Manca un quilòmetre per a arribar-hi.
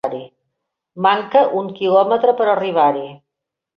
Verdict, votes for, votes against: rejected, 1, 2